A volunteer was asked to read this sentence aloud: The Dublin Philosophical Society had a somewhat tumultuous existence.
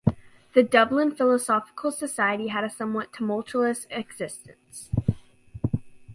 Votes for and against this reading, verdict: 2, 1, accepted